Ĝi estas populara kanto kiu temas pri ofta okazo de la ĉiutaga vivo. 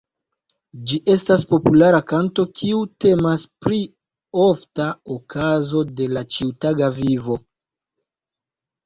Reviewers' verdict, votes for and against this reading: rejected, 0, 2